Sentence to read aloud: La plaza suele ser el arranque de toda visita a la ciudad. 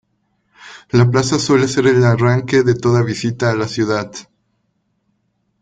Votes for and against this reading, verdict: 1, 2, rejected